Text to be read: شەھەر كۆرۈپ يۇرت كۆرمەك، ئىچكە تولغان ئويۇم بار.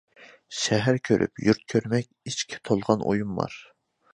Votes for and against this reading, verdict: 2, 0, accepted